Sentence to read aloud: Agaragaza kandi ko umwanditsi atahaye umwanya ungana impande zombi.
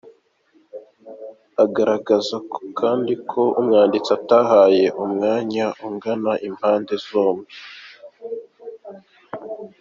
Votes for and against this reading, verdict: 2, 0, accepted